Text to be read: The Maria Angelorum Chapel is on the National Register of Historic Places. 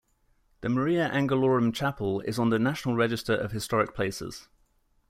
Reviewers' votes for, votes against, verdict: 2, 0, accepted